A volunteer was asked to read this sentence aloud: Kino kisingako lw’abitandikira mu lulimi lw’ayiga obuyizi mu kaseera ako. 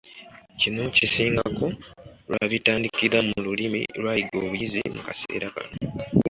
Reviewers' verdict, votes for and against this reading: rejected, 1, 2